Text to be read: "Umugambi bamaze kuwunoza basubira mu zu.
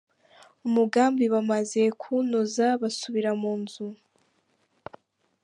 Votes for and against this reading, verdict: 2, 0, accepted